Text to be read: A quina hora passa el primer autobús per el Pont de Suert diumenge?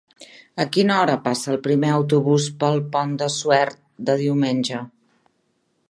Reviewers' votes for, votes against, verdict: 0, 2, rejected